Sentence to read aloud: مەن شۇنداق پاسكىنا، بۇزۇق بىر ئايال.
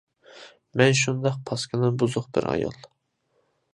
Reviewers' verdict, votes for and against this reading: accepted, 2, 0